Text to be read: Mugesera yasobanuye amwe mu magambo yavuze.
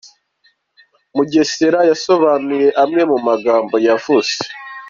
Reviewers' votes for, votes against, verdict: 2, 0, accepted